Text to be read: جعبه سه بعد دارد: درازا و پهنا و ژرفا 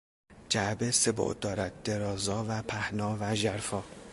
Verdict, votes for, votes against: accepted, 2, 0